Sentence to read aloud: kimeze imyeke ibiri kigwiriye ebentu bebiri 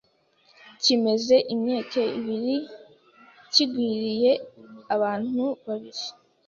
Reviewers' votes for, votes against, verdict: 0, 2, rejected